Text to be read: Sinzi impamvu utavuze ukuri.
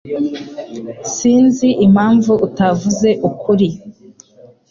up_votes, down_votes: 3, 0